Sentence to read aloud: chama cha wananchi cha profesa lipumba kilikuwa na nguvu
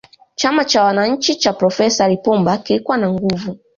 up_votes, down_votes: 2, 1